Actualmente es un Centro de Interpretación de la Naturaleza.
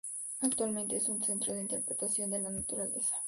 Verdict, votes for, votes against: rejected, 2, 2